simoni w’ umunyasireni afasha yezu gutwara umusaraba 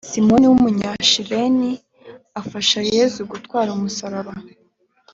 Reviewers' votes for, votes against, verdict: 2, 0, accepted